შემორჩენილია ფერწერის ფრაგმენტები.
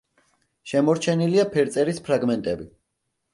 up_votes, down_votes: 2, 0